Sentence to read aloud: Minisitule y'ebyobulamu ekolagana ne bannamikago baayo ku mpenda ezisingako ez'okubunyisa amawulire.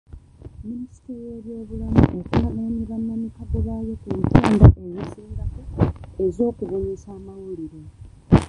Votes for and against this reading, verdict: 0, 2, rejected